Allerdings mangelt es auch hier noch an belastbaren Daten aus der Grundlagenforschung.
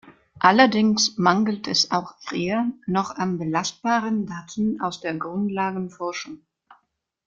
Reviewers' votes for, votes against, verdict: 2, 0, accepted